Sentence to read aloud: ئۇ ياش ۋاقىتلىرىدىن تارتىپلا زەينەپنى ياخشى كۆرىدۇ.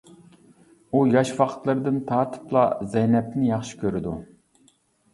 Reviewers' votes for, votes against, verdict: 2, 1, accepted